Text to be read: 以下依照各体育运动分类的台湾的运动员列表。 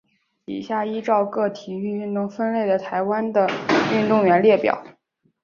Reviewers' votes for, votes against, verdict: 4, 1, accepted